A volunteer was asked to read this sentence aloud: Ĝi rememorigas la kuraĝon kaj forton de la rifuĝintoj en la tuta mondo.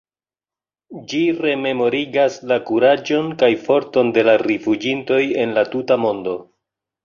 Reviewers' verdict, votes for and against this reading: accepted, 2, 0